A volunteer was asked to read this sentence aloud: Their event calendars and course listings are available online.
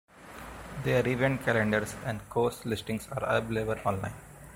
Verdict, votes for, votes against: accepted, 2, 1